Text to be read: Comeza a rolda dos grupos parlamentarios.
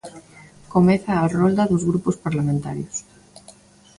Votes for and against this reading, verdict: 2, 0, accepted